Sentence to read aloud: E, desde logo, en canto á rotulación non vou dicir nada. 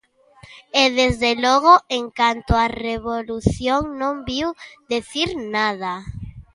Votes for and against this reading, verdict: 0, 2, rejected